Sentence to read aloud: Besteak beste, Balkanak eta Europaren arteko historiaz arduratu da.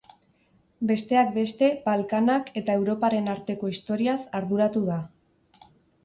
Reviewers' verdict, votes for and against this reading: accepted, 4, 0